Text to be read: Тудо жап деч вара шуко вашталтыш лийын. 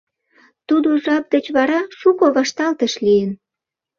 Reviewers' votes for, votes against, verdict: 2, 0, accepted